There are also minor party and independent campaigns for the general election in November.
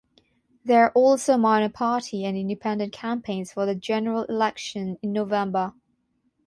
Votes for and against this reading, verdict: 6, 0, accepted